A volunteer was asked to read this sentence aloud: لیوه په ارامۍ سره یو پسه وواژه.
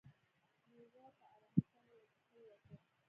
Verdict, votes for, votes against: rejected, 0, 2